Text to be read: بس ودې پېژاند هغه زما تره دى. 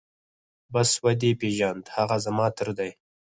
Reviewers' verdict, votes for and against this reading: rejected, 0, 4